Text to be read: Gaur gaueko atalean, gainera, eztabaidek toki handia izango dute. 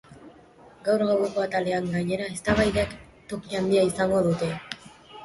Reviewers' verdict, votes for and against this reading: accepted, 2, 1